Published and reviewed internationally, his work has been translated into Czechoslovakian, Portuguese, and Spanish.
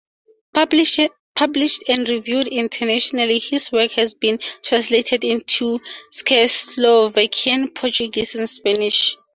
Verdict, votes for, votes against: accepted, 2, 0